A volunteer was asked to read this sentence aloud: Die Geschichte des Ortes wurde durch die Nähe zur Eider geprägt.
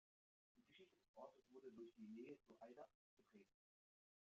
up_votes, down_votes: 0, 2